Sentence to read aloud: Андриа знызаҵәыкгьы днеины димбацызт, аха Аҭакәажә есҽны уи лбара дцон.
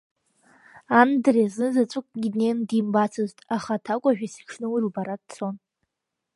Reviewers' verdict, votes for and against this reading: accepted, 3, 1